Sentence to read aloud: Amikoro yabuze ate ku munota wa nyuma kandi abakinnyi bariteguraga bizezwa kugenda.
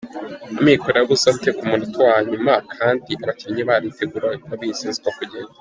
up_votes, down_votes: 1, 2